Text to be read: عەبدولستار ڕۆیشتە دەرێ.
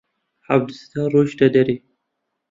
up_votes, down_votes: 2, 0